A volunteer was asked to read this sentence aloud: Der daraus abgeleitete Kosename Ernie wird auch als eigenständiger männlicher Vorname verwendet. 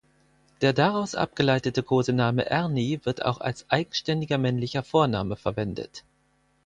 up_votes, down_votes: 4, 0